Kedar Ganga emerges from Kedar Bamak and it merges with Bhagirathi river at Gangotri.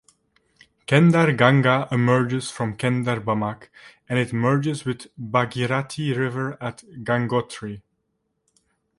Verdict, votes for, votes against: rejected, 1, 2